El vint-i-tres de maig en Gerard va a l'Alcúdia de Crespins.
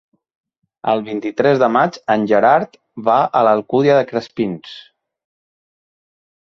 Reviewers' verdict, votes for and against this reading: accepted, 3, 0